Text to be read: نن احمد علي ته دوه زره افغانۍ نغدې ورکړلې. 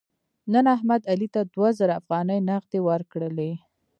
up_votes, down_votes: 0, 2